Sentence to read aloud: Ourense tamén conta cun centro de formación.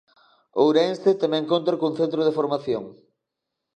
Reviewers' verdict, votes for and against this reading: accepted, 2, 1